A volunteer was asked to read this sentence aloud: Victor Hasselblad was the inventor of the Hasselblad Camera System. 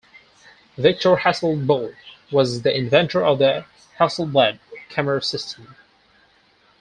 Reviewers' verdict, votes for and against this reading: rejected, 0, 4